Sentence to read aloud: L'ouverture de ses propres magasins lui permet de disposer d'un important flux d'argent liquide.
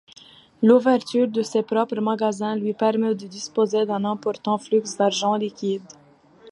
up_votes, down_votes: 0, 2